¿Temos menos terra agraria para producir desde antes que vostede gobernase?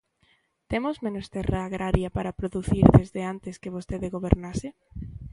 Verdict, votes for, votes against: accepted, 2, 1